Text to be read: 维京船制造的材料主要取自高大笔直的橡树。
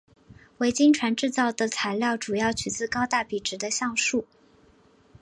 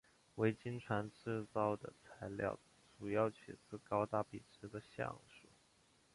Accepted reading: first